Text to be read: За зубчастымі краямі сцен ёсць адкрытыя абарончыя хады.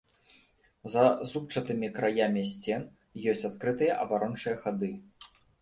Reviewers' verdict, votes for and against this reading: rejected, 1, 2